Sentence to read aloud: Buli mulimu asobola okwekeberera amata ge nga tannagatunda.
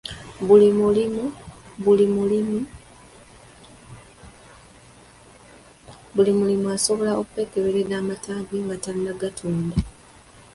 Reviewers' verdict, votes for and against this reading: rejected, 0, 2